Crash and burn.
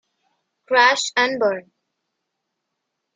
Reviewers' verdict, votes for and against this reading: accepted, 2, 0